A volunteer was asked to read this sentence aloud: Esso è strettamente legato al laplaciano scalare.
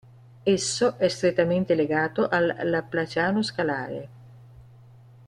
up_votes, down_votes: 2, 0